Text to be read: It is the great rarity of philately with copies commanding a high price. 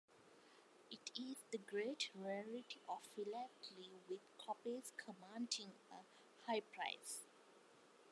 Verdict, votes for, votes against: rejected, 1, 2